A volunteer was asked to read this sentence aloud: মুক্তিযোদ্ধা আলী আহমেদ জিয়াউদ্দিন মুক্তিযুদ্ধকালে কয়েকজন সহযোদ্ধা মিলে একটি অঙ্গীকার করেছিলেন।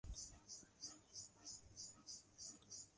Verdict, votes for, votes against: rejected, 0, 4